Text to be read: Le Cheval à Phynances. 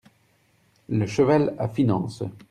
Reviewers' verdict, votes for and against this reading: accepted, 2, 0